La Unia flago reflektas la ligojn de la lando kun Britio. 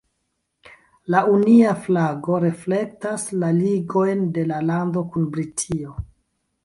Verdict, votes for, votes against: accepted, 2, 1